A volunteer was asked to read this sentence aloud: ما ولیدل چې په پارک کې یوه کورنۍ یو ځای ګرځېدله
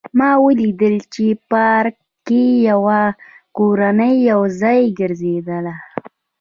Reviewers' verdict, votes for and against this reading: rejected, 1, 2